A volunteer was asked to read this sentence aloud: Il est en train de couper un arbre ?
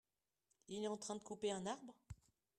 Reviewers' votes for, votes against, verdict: 1, 2, rejected